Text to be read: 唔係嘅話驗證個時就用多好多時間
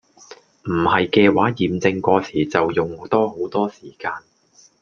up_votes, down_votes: 1, 2